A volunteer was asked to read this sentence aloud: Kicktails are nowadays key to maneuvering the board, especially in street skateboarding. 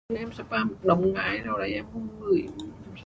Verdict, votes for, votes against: rejected, 0, 2